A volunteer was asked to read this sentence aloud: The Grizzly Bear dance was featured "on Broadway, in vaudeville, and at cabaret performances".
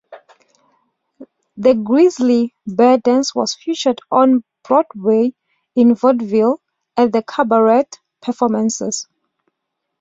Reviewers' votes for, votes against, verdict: 2, 0, accepted